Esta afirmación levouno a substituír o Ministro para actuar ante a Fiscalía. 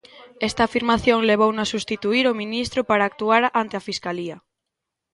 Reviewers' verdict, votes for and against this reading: rejected, 1, 2